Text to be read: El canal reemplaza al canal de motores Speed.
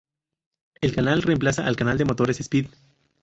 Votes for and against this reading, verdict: 2, 2, rejected